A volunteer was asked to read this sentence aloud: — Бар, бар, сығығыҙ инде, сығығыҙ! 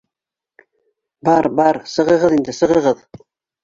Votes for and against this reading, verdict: 2, 0, accepted